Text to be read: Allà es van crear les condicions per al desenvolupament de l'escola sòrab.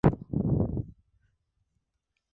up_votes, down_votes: 0, 2